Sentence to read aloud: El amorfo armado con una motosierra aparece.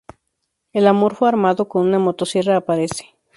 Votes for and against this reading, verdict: 2, 0, accepted